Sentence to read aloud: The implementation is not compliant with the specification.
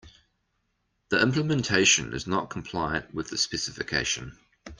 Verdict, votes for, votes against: accepted, 2, 0